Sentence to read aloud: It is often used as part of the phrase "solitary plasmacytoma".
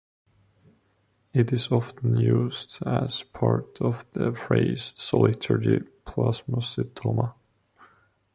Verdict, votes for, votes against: accepted, 3, 1